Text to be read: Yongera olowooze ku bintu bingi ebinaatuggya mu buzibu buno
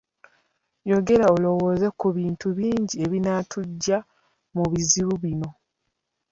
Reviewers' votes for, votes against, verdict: 2, 0, accepted